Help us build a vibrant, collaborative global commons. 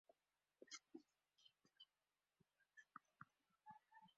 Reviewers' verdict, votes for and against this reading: rejected, 0, 2